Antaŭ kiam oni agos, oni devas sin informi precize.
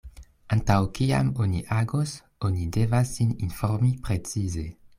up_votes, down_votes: 2, 0